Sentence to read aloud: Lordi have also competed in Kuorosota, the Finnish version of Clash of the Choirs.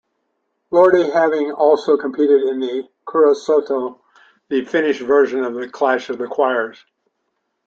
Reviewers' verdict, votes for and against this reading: rejected, 0, 2